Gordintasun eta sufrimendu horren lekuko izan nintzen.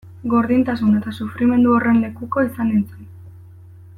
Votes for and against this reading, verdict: 2, 0, accepted